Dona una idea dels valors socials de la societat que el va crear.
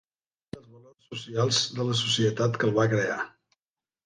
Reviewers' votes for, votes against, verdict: 0, 2, rejected